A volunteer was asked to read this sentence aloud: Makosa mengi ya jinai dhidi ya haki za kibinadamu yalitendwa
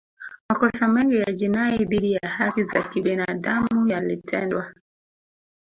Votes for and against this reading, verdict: 1, 2, rejected